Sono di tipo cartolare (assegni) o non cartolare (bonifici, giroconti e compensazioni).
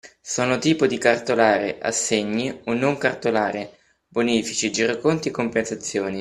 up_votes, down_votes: 0, 2